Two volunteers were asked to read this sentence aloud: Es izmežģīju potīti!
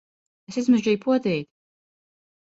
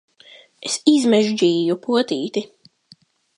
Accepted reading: second